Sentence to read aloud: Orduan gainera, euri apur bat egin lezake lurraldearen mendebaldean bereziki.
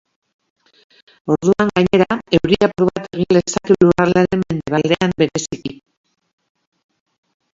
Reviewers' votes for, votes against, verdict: 0, 2, rejected